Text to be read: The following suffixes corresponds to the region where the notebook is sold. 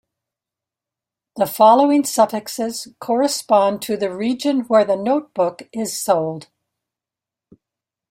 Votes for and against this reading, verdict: 1, 2, rejected